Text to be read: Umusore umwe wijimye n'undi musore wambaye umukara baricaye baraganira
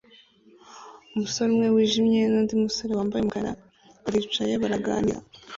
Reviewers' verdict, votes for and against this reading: rejected, 0, 2